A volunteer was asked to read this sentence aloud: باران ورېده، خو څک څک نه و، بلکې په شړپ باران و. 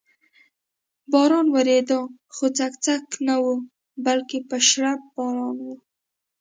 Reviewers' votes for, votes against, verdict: 2, 0, accepted